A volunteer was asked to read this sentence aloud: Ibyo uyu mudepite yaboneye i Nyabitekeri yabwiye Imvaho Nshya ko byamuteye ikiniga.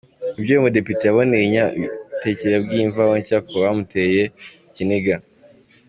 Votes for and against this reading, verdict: 2, 1, accepted